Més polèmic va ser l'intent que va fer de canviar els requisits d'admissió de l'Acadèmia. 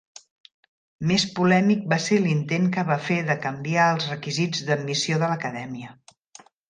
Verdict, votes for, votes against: accepted, 3, 0